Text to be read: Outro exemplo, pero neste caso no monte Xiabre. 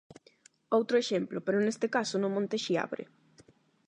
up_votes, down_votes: 8, 0